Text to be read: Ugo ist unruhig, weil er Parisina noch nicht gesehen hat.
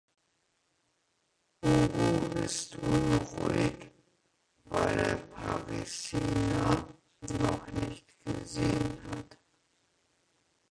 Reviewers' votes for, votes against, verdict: 0, 2, rejected